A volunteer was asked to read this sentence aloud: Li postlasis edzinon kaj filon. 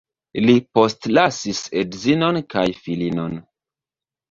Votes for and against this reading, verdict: 0, 2, rejected